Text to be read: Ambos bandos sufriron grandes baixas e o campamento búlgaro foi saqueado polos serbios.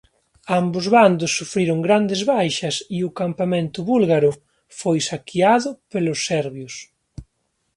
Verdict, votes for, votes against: accepted, 3, 1